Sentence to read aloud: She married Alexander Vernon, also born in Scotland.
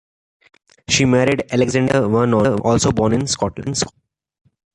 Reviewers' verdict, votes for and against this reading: rejected, 0, 2